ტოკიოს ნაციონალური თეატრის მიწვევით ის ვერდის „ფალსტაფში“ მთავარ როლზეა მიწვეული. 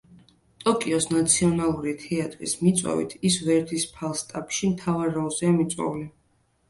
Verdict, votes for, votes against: accepted, 2, 0